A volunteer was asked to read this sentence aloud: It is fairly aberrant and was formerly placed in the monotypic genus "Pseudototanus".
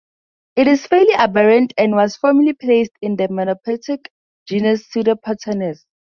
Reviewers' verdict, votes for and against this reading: rejected, 0, 2